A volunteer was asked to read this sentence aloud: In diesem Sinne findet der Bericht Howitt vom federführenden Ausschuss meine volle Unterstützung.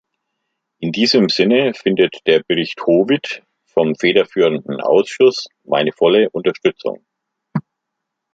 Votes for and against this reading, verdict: 2, 0, accepted